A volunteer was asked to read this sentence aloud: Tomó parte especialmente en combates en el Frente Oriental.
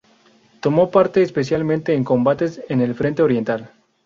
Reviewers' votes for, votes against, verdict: 8, 0, accepted